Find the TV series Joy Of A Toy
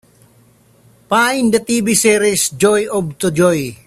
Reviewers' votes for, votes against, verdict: 0, 2, rejected